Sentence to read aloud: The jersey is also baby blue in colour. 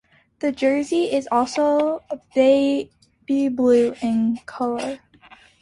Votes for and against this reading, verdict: 2, 0, accepted